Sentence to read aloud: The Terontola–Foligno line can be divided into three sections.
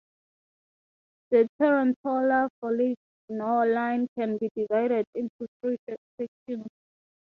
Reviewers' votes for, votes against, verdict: 0, 3, rejected